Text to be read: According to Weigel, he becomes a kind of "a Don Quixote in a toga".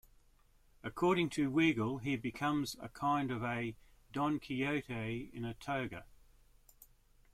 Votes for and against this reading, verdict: 2, 0, accepted